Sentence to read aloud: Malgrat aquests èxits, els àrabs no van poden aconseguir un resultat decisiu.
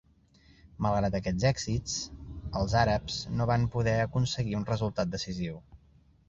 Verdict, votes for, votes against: accepted, 2, 0